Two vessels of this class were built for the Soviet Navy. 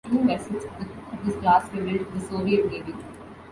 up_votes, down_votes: 0, 2